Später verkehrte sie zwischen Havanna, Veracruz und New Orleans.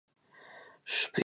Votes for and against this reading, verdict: 0, 2, rejected